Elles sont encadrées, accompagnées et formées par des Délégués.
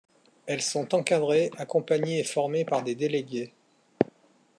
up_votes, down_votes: 2, 0